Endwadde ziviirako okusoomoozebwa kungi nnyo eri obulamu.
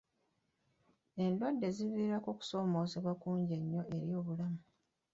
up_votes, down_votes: 2, 0